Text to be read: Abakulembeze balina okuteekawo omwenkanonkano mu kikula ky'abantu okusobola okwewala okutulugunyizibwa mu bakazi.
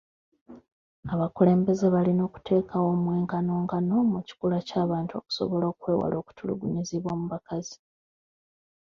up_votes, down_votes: 2, 1